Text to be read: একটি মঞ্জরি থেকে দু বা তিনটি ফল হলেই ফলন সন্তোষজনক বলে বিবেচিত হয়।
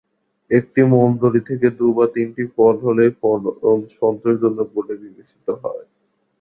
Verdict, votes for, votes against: rejected, 0, 2